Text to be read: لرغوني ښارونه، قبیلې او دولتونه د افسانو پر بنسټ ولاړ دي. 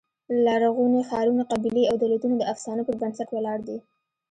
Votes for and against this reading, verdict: 2, 0, accepted